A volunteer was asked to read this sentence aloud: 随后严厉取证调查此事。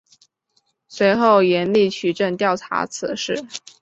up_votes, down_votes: 2, 0